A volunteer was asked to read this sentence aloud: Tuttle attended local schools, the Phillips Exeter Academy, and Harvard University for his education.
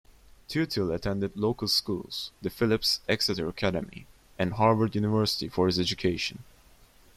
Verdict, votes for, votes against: rejected, 1, 2